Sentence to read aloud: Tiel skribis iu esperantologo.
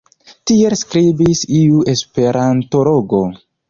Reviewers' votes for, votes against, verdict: 3, 0, accepted